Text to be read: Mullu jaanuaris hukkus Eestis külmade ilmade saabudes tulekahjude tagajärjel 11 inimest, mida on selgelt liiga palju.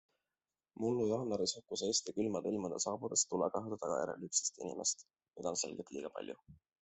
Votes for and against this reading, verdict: 0, 2, rejected